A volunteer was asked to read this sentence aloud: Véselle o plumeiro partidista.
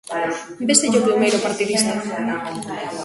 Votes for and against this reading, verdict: 0, 2, rejected